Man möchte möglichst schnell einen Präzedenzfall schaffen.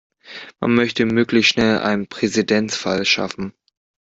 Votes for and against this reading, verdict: 0, 2, rejected